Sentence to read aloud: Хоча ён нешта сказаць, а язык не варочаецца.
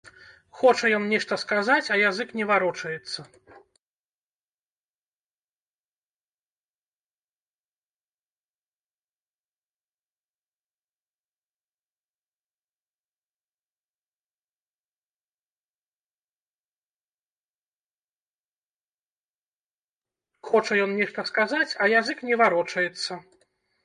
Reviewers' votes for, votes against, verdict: 2, 3, rejected